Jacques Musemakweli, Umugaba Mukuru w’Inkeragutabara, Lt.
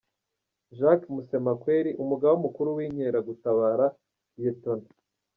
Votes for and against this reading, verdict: 1, 2, rejected